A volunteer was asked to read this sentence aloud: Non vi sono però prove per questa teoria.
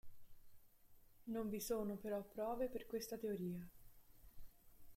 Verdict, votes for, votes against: accepted, 2, 1